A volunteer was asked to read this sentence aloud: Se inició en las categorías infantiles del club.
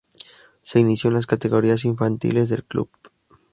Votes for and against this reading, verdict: 2, 0, accepted